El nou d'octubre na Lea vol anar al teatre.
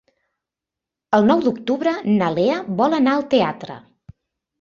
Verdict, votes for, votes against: accepted, 4, 0